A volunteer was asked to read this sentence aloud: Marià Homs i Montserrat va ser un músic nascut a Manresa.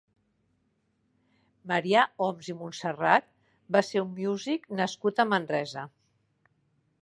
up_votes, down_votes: 0, 2